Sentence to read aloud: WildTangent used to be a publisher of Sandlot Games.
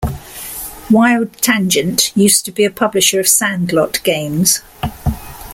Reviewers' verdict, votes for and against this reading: accepted, 2, 0